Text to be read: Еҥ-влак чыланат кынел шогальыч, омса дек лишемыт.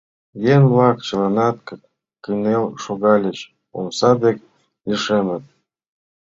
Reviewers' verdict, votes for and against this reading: accepted, 3, 1